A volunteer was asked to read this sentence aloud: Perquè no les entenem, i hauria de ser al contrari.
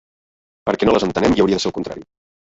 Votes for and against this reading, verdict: 1, 2, rejected